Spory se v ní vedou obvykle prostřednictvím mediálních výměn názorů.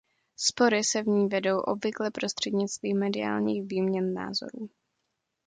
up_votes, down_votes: 2, 0